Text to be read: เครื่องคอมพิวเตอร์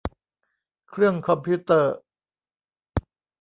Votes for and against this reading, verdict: 1, 2, rejected